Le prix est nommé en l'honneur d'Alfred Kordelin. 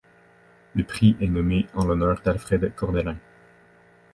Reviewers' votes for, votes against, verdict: 1, 2, rejected